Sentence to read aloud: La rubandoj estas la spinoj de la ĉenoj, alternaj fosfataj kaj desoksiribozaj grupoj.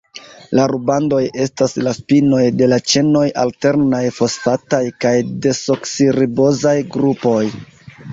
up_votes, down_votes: 0, 2